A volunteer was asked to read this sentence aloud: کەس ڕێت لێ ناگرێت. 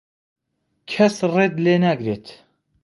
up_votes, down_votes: 2, 0